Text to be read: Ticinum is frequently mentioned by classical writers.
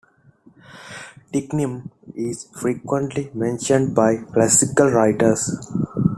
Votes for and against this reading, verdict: 2, 0, accepted